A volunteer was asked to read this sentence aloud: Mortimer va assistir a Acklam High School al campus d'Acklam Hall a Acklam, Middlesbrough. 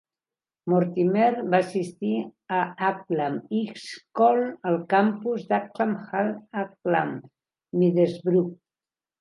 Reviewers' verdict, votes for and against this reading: rejected, 1, 3